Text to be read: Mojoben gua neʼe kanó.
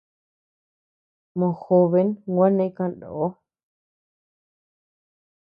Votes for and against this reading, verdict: 2, 0, accepted